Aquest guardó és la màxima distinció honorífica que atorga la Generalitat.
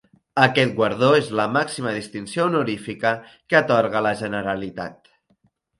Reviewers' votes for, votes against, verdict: 3, 0, accepted